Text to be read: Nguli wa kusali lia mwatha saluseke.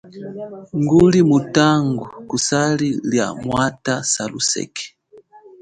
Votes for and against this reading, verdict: 0, 2, rejected